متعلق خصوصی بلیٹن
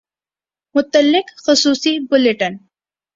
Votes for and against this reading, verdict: 2, 0, accepted